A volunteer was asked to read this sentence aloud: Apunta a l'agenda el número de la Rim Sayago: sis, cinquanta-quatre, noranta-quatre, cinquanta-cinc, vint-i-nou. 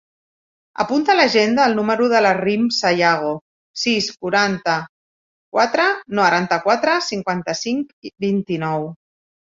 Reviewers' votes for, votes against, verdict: 1, 2, rejected